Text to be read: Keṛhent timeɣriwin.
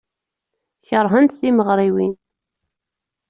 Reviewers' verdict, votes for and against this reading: accepted, 2, 0